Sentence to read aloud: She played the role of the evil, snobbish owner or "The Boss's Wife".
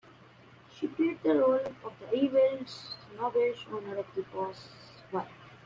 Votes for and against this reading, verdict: 2, 1, accepted